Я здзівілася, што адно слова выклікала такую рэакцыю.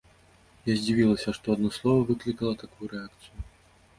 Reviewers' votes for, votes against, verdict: 2, 0, accepted